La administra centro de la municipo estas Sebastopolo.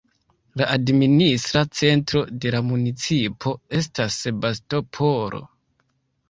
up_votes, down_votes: 2, 3